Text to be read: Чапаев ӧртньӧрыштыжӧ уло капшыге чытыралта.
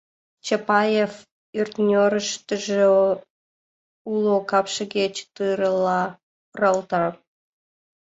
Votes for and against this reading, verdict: 0, 2, rejected